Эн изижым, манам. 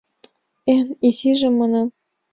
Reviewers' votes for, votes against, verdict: 2, 0, accepted